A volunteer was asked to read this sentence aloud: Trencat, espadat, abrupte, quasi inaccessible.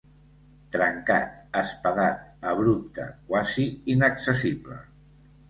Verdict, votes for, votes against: rejected, 0, 2